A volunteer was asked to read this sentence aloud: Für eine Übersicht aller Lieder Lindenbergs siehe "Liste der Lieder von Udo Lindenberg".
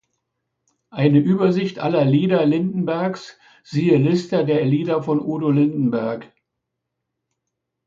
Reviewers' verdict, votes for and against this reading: rejected, 0, 2